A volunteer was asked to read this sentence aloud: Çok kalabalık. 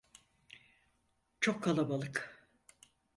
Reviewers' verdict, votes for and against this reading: accepted, 4, 0